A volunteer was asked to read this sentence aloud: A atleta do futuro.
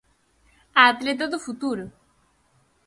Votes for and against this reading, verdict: 4, 0, accepted